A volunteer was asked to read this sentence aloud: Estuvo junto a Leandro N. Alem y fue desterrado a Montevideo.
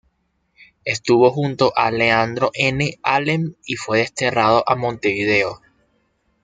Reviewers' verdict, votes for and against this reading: accepted, 2, 0